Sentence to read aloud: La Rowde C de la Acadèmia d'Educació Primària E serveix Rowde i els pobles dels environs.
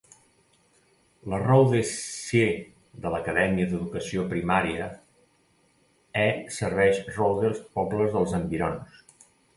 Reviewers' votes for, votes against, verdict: 1, 2, rejected